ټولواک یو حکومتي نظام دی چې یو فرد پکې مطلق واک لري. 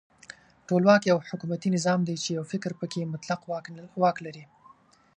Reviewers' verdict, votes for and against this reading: rejected, 0, 2